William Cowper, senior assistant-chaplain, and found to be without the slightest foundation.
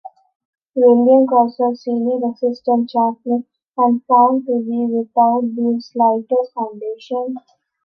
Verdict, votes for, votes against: rejected, 1, 2